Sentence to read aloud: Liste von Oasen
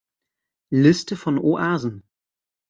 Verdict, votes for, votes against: accepted, 2, 0